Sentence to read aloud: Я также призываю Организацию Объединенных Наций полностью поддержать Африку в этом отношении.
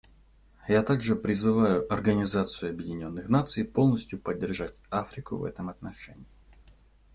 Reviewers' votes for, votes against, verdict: 2, 0, accepted